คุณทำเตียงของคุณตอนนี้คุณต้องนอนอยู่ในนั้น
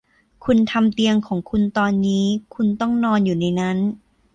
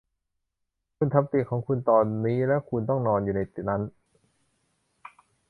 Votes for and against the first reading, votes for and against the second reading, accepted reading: 2, 0, 0, 2, first